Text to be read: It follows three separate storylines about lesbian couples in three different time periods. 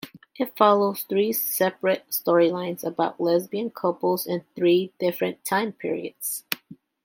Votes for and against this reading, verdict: 2, 0, accepted